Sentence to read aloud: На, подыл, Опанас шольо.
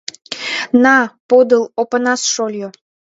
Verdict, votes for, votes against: accepted, 2, 0